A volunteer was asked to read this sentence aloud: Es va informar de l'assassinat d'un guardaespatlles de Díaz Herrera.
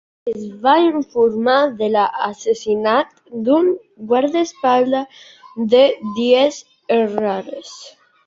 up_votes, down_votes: 1, 2